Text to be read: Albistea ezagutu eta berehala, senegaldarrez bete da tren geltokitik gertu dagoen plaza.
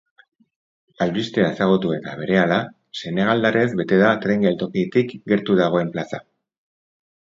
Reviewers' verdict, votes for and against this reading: accepted, 4, 0